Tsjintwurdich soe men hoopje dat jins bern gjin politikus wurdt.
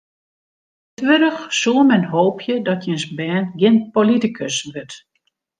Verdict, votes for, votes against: rejected, 0, 2